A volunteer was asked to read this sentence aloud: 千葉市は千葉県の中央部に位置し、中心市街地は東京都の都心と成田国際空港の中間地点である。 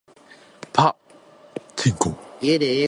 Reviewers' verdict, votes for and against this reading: rejected, 0, 2